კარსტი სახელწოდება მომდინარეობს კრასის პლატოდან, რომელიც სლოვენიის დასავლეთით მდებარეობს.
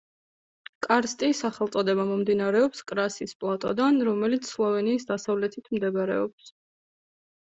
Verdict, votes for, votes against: accepted, 2, 0